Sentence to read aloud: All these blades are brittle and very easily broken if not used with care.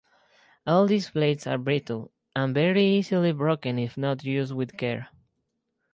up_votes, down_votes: 0, 2